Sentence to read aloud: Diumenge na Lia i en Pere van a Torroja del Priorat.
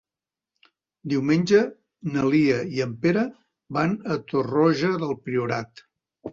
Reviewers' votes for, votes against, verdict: 3, 0, accepted